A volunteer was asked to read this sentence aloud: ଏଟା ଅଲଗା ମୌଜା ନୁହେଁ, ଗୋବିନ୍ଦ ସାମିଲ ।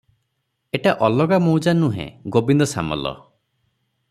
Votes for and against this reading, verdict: 0, 6, rejected